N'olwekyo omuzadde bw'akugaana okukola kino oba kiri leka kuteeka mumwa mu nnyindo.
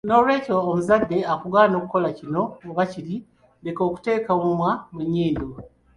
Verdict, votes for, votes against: rejected, 1, 2